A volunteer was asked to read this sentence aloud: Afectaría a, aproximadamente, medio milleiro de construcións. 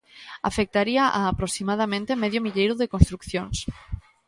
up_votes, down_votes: 2, 1